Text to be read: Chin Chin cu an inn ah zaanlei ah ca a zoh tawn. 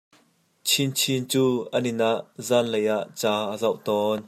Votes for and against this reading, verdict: 2, 0, accepted